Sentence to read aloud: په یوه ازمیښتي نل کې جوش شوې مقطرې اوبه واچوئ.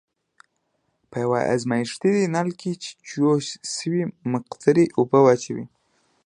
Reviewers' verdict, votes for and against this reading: accepted, 2, 0